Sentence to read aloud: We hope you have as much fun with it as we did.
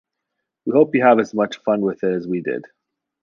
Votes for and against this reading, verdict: 2, 0, accepted